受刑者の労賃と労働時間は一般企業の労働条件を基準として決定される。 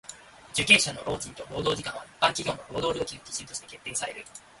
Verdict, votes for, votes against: rejected, 1, 2